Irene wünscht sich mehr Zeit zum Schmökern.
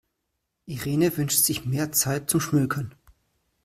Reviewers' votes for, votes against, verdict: 2, 1, accepted